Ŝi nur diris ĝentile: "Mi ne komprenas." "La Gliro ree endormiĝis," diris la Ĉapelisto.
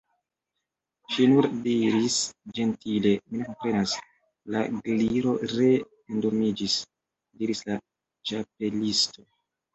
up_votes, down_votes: 0, 2